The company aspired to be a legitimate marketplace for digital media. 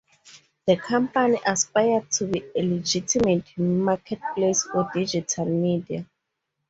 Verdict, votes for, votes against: rejected, 0, 2